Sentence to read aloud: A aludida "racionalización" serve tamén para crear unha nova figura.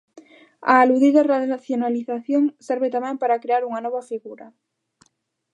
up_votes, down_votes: 0, 2